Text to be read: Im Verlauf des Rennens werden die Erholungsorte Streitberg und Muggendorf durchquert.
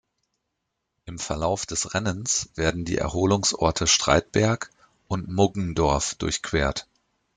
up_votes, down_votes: 2, 0